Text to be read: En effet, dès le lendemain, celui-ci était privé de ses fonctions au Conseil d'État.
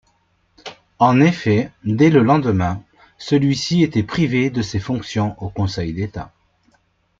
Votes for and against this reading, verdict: 2, 0, accepted